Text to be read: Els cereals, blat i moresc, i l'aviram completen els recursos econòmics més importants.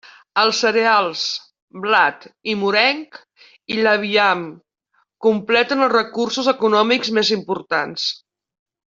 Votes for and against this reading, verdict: 0, 2, rejected